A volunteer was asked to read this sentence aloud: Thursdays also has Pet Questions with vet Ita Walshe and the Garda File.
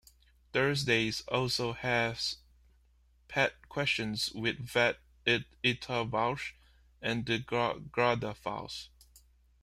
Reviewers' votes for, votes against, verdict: 2, 1, accepted